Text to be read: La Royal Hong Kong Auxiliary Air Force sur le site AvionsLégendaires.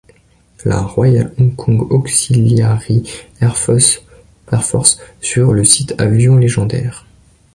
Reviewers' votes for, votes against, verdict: 0, 2, rejected